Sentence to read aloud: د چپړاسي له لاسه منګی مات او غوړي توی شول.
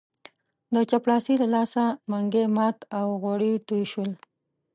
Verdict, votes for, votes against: accepted, 2, 0